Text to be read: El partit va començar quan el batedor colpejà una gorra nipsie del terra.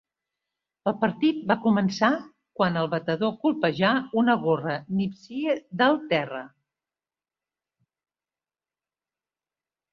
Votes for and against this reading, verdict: 2, 0, accepted